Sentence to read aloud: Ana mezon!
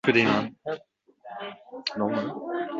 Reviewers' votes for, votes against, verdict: 0, 2, rejected